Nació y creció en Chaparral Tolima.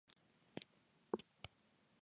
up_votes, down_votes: 0, 2